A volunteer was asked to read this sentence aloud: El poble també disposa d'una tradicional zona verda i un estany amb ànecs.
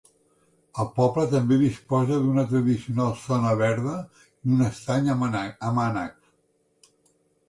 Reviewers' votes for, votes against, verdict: 0, 2, rejected